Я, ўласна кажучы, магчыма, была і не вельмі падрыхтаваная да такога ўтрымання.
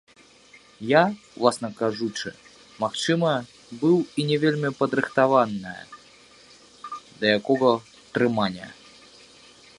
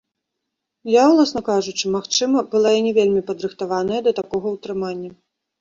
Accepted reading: second